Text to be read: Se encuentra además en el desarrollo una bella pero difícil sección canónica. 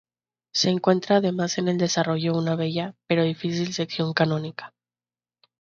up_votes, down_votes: 2, 0